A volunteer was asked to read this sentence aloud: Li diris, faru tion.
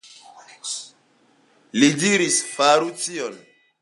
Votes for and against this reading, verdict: 2, 0, accepted